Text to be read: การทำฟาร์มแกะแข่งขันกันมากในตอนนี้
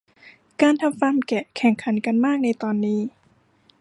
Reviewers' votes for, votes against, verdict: 2, 0, accepted